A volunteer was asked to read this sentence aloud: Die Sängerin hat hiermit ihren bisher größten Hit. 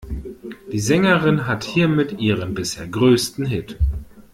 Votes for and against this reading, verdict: 1, 2, rejected